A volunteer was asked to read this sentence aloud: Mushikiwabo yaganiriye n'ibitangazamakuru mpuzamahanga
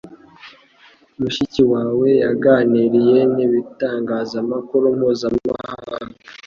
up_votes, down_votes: 2, 0